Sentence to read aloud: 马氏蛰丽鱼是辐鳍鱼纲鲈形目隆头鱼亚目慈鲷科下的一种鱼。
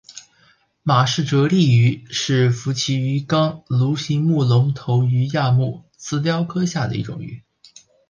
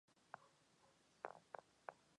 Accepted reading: first